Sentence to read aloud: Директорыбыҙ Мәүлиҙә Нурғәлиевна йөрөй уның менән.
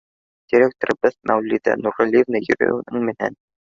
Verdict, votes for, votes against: rejected, 1, 2